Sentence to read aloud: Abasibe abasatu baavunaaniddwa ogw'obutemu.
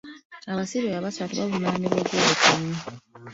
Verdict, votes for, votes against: accepted, 2, 1